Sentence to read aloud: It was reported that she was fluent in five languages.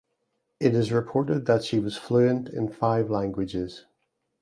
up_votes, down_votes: 0, 2